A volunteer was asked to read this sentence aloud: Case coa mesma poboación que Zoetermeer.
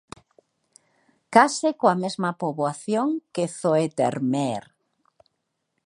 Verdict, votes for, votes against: accepted, 2, 1